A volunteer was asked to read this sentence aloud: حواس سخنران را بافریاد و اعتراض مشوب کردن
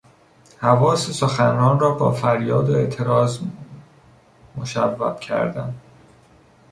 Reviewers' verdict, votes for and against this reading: rejected, 1, 2